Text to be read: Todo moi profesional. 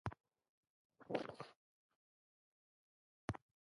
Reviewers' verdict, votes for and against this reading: rejected, 1, 2